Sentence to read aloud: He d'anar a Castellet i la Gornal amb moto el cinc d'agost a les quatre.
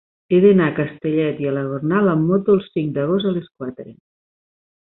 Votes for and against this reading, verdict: 5, 0, accepted